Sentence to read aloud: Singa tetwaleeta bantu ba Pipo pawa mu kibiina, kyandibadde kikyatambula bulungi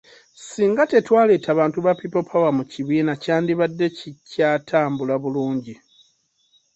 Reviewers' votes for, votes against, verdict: 2, 0, accepted